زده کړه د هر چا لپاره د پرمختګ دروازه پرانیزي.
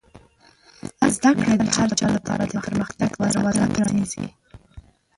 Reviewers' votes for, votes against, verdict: 1, 2, rejected